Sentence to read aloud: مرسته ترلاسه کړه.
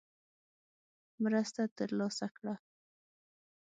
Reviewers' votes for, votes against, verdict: 6, 0, accepted